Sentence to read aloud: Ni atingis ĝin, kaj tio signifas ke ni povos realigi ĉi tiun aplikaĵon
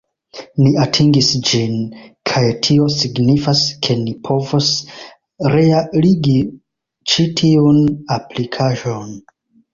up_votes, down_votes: 0, 2